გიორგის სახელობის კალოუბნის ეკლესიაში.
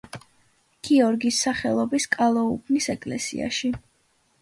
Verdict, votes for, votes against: accepted, 2, 0